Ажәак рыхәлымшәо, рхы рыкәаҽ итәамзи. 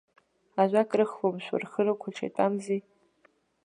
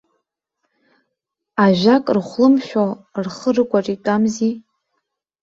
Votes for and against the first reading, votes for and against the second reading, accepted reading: 2, 0, 0, 2, first